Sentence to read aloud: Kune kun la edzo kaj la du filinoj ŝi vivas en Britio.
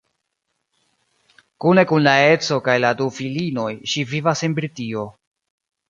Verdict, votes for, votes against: rejected, 0, 2